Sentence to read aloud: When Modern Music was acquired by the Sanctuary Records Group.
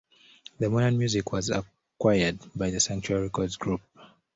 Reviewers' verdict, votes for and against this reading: accepted, 2, 1